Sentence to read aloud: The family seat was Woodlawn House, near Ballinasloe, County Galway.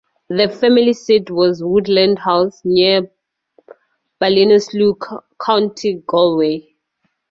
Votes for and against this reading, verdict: 4, 0, accepted